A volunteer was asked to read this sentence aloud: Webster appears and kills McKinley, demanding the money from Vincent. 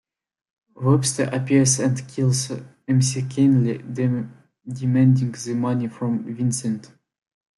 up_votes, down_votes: 0, 2